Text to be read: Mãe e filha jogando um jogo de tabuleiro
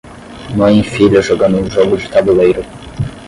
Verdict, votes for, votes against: accepted, 10, 0